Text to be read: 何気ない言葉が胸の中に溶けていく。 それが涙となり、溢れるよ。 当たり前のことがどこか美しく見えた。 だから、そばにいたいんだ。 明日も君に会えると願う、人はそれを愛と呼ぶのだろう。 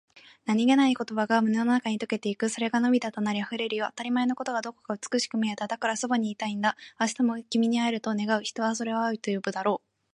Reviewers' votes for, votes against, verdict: 2, 0, accepted